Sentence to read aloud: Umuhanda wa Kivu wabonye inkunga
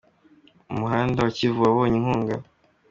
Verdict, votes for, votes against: accepted, 2, 0